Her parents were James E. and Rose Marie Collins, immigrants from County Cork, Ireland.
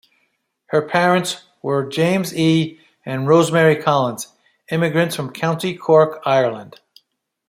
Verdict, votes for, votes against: accepted, 2, 0